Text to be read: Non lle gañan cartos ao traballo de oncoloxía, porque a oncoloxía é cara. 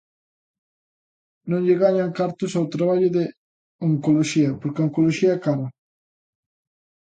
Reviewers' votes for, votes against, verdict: 2, 0, accepted